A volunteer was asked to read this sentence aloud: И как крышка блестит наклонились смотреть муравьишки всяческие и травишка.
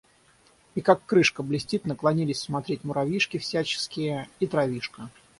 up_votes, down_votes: 3, 6